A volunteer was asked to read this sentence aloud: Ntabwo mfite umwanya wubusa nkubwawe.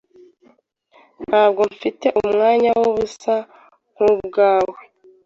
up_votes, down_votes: 2, 0